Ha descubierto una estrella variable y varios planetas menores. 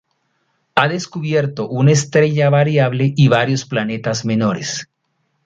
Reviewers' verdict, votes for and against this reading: accepted, 2, 0